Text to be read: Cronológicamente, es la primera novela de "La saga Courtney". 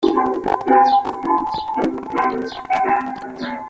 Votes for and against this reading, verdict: 0, 2, rejected